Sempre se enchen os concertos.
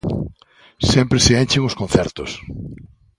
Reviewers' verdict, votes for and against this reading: accepted, 2, 0